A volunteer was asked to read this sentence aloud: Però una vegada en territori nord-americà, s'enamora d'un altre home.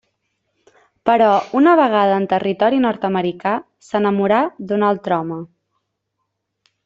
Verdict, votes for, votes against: rejected, 1, 2